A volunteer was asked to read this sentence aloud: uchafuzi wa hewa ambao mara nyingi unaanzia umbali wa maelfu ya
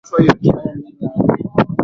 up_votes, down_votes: 0, 2